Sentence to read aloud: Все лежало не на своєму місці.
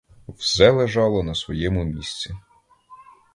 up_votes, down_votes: 0, 2